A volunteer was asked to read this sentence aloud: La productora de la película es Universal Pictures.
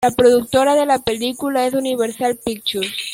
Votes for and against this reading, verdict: 2, 1, accepted